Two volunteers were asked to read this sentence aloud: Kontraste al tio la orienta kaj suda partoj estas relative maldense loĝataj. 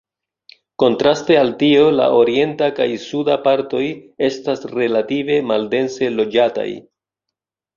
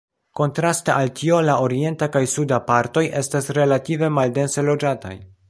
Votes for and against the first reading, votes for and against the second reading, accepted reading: 2, 0, 0, 2, first